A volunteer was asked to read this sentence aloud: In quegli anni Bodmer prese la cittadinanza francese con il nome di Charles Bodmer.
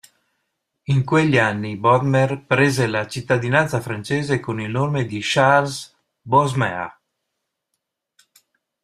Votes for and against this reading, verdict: 2, 0, accepted